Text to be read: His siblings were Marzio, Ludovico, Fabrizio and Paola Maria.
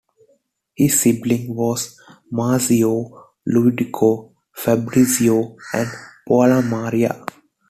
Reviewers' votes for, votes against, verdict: 0, 2, rejected